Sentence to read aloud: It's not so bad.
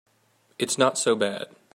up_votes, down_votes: 2, 0